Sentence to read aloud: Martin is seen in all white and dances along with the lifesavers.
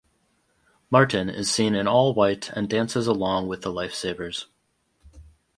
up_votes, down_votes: 2, 0